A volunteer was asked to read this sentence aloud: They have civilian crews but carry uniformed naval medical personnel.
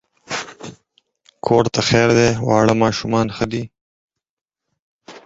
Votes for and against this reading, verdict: 0, 4, rejected